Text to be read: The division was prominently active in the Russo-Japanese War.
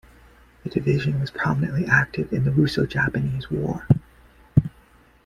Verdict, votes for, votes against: accepted, 2, 0